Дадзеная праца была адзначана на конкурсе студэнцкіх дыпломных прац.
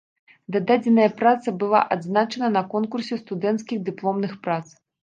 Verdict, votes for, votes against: rejected, 1, 2